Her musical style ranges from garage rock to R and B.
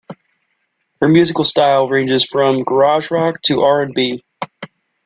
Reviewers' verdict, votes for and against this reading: accepted, 2, 0